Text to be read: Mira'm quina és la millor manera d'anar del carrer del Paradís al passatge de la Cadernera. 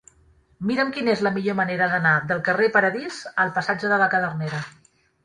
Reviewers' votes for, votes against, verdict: 2, 1, accepted